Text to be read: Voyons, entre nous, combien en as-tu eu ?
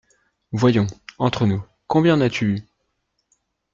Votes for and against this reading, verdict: 2, 0, accepted